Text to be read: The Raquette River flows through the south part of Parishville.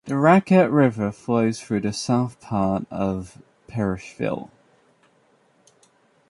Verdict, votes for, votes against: rejected, 1, 2